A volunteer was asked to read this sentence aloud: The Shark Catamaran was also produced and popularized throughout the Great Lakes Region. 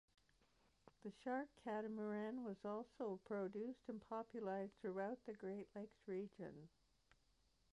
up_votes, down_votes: 0, 2